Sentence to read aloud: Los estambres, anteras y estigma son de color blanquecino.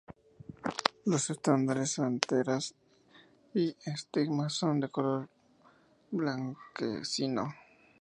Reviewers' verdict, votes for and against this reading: accepted, 2, 0